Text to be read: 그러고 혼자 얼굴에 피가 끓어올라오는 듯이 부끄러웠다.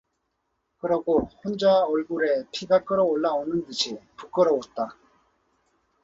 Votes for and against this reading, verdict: 0, 2, rejected